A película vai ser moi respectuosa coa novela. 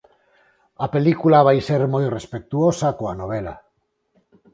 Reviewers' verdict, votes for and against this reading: accepted, 4, 0